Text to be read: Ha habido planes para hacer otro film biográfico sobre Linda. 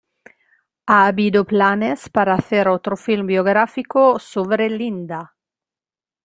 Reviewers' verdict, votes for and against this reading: rejected, 1, 2